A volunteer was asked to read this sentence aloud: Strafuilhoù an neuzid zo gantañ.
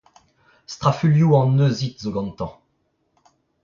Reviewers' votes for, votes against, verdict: 0, 2, rejected